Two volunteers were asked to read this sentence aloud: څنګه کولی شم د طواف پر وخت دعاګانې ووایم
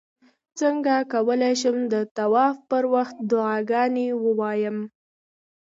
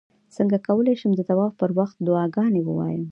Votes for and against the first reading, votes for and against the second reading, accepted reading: 2, 0, 1, 2, first